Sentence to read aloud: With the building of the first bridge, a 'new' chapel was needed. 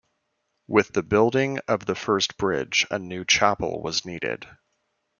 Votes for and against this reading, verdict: 2, 1, accepted